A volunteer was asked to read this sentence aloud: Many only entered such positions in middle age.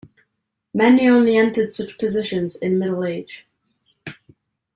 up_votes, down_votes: 2, 0